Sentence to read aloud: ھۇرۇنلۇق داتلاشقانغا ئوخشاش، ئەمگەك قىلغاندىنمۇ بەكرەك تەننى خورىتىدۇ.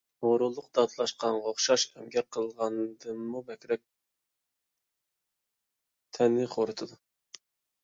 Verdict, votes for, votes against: accepted, 2, 1